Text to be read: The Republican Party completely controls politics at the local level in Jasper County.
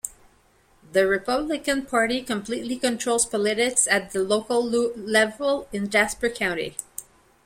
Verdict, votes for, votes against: rejected, 1, 2